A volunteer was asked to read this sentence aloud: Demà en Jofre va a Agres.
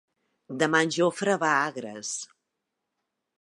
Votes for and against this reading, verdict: 2, 0, accepted